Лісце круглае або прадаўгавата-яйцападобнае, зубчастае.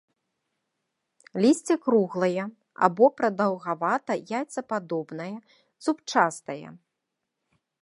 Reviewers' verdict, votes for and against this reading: accepted, 2, 0